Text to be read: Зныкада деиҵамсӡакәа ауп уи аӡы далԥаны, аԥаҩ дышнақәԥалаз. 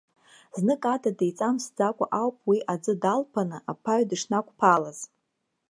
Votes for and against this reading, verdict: 0, 2, rejected